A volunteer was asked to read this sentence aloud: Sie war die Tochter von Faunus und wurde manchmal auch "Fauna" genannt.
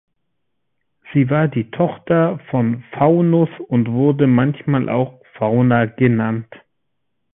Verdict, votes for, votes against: accepted, 3, 0